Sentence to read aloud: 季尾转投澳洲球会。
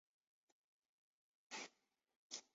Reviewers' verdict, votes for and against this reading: rejected, 0, 3